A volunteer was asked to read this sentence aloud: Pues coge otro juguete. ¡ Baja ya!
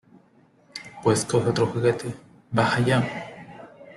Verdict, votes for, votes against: accepted, 2, 0